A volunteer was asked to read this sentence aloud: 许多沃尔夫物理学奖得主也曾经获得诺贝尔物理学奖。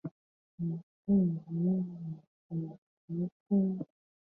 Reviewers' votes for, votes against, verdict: 0, 3, rejected